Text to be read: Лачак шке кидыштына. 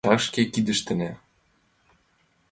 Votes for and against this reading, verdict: 2, 1, accepted